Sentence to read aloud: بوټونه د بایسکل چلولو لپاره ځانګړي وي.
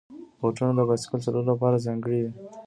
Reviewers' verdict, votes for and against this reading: accepted, 2, 0